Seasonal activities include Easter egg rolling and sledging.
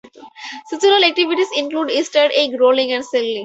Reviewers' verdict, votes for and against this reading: rejected, 0, 4